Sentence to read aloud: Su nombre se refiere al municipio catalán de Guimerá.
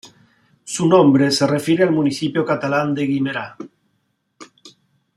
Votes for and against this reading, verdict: 0, 2, rejected